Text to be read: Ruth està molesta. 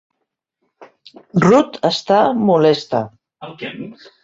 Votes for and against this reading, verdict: 0, 2, rejected